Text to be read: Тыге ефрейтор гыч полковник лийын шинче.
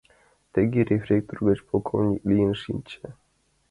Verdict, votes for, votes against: rejected, 0, 2